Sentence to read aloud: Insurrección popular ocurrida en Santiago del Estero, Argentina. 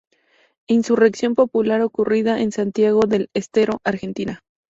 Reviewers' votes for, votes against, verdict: 2, 2, rejected